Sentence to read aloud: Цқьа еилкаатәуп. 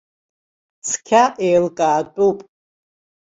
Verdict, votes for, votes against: accepted, 2, 0